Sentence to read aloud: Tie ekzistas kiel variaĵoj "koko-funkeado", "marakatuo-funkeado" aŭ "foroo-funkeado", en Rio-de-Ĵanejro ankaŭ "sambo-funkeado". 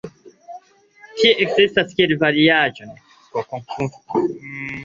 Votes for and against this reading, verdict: 2, 0, accepted